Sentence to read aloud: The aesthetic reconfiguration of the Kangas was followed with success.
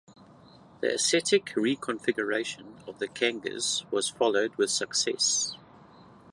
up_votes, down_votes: 2, 0